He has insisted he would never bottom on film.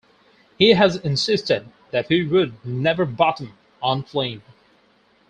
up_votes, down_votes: 0, 4